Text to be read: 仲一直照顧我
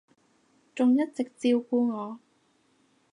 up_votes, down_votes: 2, 0